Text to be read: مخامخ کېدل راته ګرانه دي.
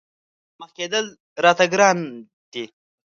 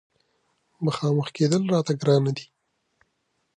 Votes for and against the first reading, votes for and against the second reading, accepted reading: 1, 2, 2, 0, second